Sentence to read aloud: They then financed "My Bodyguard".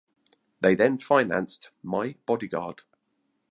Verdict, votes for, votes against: accepted, 2, 0